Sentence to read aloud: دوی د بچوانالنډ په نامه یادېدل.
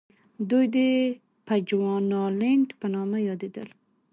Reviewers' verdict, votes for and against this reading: accepted, 2, 0